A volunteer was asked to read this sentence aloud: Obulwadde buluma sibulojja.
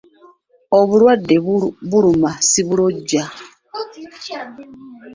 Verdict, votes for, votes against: accepted, 2, 1